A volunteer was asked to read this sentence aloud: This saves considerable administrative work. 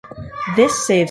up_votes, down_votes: 0, 2